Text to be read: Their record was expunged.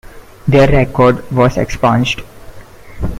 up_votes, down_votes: 2, 1